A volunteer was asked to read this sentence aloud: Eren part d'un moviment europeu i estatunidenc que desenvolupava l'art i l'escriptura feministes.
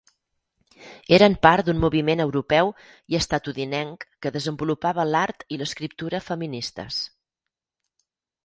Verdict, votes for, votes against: rejected, 2, 4